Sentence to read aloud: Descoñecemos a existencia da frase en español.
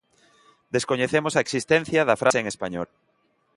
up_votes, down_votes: 2, 0